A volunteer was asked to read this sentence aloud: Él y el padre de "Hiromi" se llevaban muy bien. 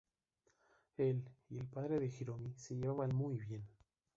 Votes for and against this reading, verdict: 0, 2, rejected